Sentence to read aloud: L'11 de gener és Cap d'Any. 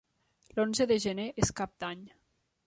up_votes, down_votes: 0, 2